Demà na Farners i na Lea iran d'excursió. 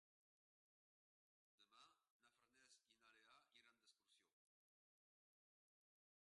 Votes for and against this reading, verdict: 0, 3, rejected